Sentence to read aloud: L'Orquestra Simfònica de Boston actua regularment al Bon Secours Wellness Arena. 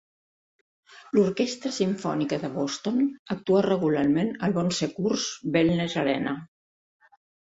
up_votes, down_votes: 2, 1